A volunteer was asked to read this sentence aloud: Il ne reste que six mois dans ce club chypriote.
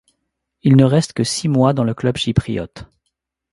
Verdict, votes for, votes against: rejected, 0, 2